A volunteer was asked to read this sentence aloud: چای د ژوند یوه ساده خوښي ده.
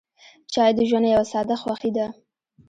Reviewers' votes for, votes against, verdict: 0, 2, rejected